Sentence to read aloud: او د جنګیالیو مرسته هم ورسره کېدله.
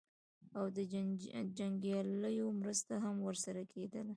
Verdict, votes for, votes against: accepted, 2, 1